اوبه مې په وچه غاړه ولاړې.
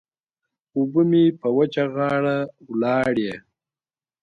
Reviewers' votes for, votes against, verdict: 2, 0, accepted